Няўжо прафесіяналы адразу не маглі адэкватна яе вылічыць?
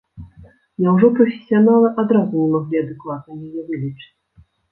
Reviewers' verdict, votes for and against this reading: rejected, 0, 2